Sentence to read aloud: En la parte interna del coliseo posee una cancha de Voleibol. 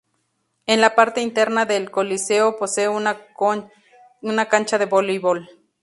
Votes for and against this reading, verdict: 2, 2, rejected